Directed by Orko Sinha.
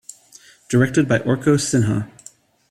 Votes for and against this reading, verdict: 2, 0, accepted